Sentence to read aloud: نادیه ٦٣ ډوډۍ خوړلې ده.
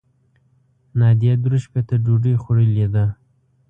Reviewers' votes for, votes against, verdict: 0, 2, rejected